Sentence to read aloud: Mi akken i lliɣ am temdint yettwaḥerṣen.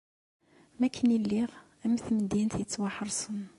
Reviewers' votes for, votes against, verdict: 2, 0, accepted